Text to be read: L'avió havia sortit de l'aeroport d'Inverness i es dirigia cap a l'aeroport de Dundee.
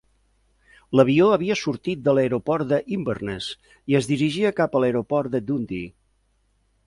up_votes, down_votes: 2, 1